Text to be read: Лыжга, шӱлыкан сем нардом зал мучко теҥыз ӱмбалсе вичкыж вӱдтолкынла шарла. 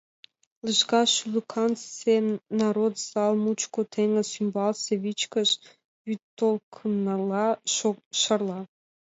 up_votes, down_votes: 0, 2